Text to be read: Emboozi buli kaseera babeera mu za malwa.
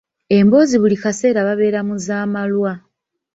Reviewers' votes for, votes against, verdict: 2, 0, accepted